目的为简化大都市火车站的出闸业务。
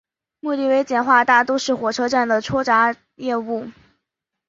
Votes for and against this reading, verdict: 2, 0, accepted